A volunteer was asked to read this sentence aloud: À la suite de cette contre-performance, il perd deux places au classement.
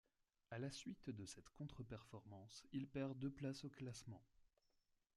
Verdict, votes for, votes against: accepted, 2, 0